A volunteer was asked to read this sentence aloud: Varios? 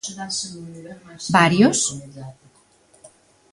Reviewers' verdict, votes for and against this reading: accepted, 2, 0